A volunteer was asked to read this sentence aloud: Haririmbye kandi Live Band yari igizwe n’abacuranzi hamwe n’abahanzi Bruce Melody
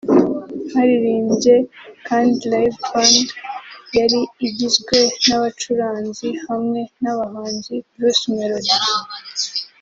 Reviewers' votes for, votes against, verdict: 3, 0, accepted